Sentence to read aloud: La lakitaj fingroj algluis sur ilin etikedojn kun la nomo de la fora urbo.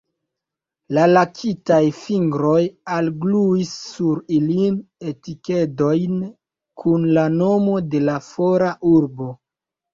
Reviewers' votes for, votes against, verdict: 2, 0, accepted